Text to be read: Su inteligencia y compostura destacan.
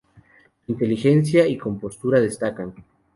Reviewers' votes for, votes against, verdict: 2, 2, rejected